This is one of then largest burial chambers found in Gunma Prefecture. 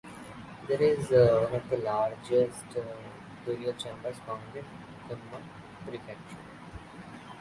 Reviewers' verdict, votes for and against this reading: rejected, 0, 2